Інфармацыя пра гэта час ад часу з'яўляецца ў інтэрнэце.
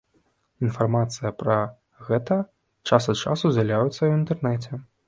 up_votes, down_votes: 0, 2